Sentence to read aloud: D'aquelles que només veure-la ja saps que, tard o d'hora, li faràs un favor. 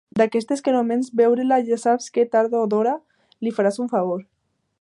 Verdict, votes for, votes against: accepted, 2, 1